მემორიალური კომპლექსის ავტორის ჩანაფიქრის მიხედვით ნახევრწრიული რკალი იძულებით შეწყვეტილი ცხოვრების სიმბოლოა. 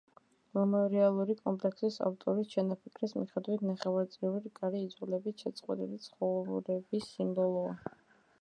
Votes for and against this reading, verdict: 2, 0, accepted